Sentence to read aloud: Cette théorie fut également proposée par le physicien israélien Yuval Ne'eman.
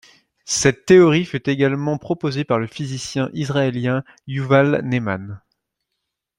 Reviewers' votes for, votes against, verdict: 2, 0, accepted